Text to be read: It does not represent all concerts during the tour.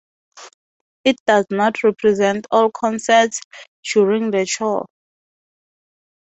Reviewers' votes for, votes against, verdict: 2, 0, accepted